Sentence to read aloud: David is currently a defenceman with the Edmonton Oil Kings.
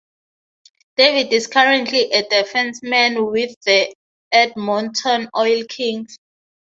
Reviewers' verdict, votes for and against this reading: rejected, 0, 3